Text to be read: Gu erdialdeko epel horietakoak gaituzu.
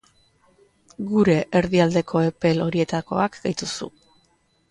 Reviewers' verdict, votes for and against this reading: rejected, 1, 2